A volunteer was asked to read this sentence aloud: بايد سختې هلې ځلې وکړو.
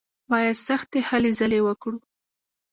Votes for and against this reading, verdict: 1, 2, rejected